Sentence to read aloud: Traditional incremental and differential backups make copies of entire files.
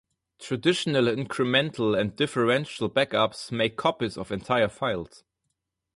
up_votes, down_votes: 2, 0